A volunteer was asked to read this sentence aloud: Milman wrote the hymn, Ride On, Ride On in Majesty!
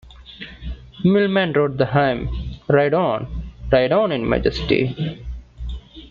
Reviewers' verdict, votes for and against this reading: accepted, 2, 1